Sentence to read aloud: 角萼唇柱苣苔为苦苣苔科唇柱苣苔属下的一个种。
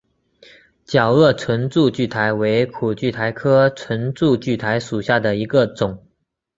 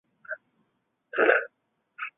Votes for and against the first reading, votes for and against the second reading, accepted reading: 6, 0, 2, 2, first